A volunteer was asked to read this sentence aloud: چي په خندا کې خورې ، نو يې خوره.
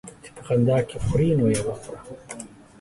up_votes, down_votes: 3, 2